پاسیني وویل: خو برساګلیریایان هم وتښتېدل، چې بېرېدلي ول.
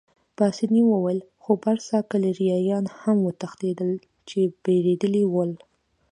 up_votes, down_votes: 2, 0